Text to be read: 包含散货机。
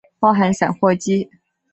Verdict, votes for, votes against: accepted, 2, 0